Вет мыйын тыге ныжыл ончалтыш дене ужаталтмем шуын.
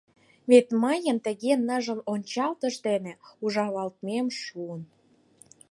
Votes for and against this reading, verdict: 2, 4, rejected